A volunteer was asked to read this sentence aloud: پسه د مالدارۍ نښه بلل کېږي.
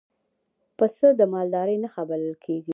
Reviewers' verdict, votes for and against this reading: rejected, 1, 2